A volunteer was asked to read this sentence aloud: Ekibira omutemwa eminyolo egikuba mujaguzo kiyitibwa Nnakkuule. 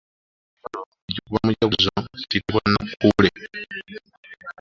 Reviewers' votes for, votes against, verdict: 0, 2, rejected